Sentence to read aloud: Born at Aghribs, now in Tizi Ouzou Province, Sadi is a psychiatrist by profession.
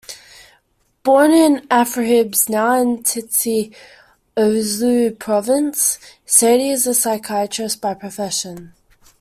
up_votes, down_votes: 0, 2